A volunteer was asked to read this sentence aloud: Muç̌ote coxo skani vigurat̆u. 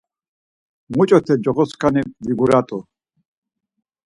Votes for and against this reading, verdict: 4, 0, accepted